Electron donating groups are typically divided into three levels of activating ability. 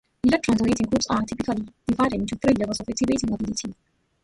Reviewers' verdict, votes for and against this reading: rejected, 2, 5